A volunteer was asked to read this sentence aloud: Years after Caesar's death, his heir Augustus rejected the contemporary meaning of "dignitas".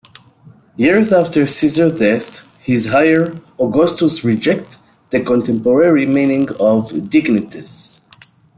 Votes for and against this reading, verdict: 0, 2, rejected